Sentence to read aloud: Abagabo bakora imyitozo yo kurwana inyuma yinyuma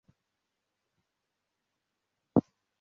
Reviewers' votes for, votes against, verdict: 0, 2, rejected